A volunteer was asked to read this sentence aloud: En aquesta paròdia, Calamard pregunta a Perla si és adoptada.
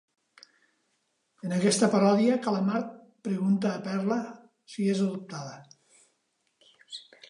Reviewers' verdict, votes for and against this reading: accepted, 2, 0